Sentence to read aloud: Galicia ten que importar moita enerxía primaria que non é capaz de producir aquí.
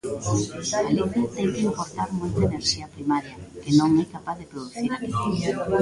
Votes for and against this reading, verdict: 0, 2, rejected